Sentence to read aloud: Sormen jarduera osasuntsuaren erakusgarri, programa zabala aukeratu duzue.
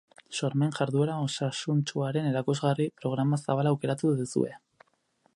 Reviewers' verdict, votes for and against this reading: rejected, 0, 4